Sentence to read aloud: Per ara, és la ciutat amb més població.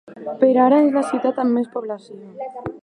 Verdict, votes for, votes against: accepted, 2, 0